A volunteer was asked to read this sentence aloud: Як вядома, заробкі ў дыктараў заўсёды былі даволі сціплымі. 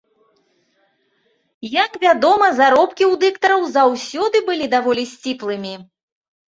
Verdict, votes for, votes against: accepted, 2, 0